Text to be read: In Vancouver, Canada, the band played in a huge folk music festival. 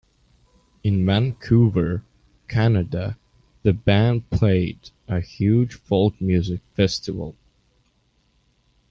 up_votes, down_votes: 0, 2